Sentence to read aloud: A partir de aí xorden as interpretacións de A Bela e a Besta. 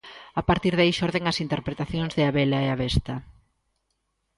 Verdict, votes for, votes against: accepted, 2, 0